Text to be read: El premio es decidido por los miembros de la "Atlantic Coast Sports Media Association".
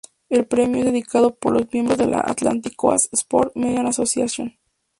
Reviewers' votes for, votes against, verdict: 2, 0, accepted